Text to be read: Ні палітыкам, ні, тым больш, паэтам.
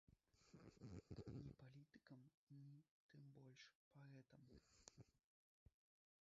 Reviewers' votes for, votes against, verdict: 1, 2, rejected